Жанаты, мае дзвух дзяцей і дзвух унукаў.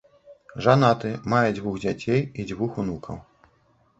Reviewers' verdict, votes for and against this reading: accepted, 2, 0